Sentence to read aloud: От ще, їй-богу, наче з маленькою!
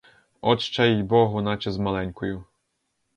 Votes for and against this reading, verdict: 2, 2, rejected